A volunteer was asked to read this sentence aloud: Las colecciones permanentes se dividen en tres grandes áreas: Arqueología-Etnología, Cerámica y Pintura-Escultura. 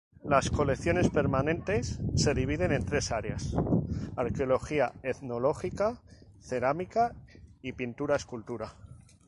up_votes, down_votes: 0, 6